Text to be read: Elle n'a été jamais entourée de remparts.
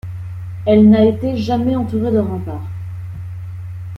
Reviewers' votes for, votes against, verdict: 2, 0, accepted